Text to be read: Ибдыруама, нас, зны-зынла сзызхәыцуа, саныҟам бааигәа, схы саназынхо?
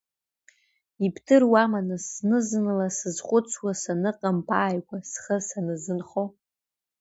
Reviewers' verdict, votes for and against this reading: accepted, 2, 0